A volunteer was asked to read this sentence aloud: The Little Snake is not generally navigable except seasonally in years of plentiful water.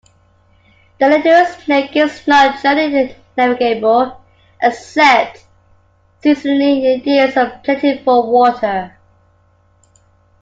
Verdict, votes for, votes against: rejected, 1, 2